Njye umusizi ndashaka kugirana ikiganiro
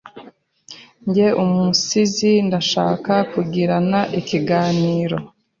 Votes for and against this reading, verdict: 2, 0, accepted